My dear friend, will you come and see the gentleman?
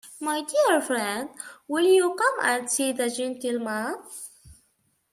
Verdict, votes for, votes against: rejected, 1, 2